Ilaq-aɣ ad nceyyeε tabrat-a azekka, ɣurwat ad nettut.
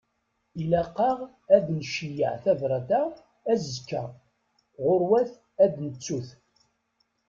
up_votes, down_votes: 1, 2